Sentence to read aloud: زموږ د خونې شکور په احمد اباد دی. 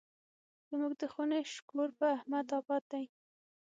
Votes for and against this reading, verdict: 6, 0, accepted